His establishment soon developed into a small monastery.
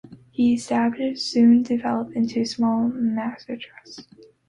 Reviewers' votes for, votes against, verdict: 1, 2, rejected